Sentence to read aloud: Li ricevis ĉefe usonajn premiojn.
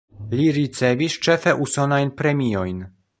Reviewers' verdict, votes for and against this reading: accepted, 2, 0